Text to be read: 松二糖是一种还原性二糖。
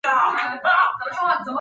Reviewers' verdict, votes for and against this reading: rejected, 2, 3